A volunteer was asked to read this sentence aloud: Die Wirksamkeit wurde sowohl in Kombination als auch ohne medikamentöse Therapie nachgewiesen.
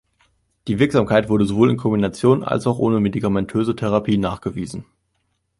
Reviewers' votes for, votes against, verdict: 2, 0, accepted